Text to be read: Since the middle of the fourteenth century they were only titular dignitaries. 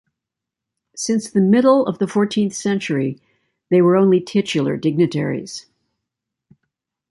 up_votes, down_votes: 2, 0